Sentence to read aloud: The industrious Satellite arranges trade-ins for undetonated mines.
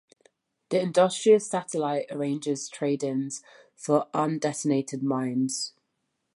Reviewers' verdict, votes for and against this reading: accepted, 2, 0